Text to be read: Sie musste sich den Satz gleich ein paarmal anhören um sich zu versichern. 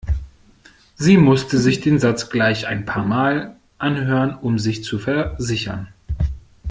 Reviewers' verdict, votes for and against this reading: rejected, 0, 2